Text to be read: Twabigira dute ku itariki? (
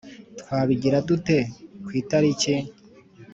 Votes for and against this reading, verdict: 3, 0, accepted